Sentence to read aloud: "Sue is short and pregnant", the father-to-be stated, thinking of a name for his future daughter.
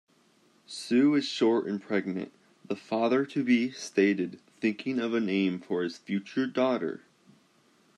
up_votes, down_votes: 2, 0